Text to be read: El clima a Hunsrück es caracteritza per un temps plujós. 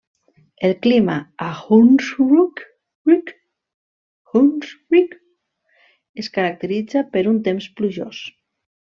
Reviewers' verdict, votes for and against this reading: rejected, 0, 2